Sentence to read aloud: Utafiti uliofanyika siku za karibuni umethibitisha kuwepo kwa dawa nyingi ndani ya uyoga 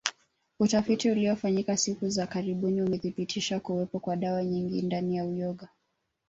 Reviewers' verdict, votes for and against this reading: rejected, 0, 2